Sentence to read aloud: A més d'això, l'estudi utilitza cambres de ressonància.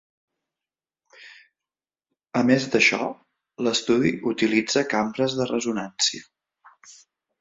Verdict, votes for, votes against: rejected, 0, 2